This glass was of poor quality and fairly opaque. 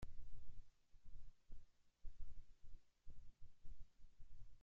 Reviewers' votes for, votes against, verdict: 0, 2, rejected